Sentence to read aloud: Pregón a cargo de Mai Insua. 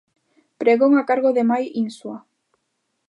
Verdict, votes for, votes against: accepted, 2, 0